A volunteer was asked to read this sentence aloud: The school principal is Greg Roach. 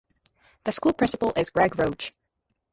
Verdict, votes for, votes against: rejected, 2, 4